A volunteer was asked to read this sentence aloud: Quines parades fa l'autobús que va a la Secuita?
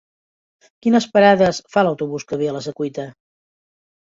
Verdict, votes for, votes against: rejected, 0, 3